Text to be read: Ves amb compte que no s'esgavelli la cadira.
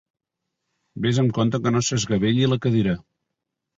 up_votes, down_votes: 2, 0